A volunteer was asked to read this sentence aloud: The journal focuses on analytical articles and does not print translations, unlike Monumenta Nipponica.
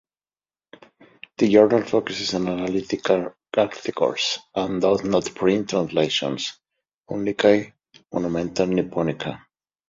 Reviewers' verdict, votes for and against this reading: rejected, 0, 2